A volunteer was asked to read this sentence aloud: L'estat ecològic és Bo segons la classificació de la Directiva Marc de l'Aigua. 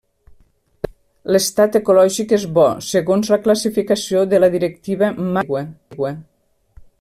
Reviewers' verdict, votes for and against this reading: rejected, 0, 2